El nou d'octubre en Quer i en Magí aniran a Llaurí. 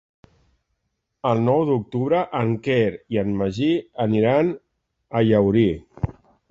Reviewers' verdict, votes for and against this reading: accepted, 3, 0